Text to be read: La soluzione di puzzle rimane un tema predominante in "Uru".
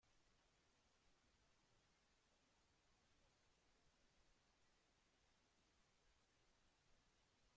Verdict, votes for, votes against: rejected, 0, 2